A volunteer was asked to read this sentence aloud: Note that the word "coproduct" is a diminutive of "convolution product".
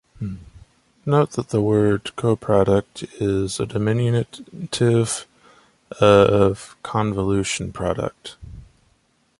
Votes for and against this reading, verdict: 0, 2, rejected